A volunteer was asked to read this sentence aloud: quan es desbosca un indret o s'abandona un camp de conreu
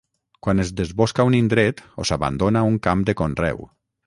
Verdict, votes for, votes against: accepted, 6, 0